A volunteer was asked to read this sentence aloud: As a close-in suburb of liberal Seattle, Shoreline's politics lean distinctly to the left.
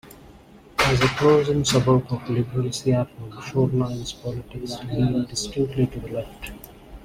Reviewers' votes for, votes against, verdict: 1, 2, rejected